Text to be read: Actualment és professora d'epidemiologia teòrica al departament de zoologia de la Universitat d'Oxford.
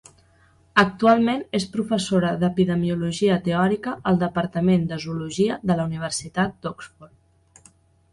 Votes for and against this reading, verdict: 2, 0, accepted